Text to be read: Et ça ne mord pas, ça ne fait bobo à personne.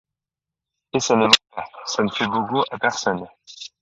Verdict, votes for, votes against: rejected, 1, 2